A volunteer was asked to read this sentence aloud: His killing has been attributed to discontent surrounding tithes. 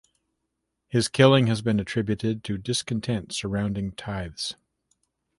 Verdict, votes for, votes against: accepted, 2, 0